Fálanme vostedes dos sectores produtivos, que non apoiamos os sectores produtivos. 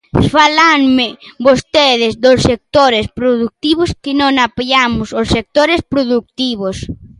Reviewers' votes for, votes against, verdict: 0, 2, rejected